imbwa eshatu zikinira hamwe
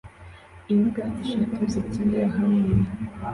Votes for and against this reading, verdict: 2, 1, accepted